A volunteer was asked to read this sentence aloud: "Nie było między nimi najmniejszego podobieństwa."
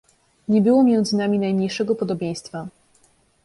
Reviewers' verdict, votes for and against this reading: rejected, 1, 2